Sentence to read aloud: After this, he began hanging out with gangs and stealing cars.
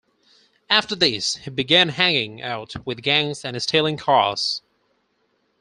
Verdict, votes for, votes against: accepted, 4, 0